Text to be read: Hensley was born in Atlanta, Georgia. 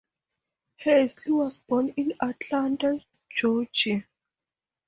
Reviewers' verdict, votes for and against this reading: accepted, 4, 0